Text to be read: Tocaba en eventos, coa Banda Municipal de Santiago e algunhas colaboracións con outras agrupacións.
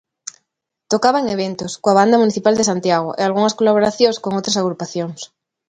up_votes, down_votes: 2, 0